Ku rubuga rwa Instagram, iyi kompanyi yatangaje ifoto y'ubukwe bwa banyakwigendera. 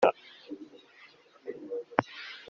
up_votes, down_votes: 0, 3